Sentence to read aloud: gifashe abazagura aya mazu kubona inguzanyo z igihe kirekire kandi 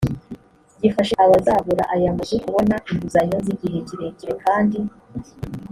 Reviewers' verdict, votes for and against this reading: accepted, 2, 0